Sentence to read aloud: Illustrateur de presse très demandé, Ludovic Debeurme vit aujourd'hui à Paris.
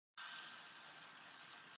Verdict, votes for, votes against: rejected, 0, 2